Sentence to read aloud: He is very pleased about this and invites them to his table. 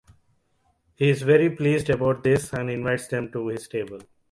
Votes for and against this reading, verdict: 2, 0, accepted